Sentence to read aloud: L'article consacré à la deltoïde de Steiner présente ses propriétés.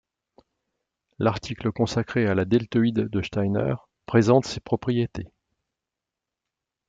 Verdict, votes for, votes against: accepted, 2, 0